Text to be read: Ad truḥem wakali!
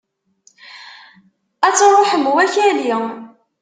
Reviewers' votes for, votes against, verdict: 2, 0, accepted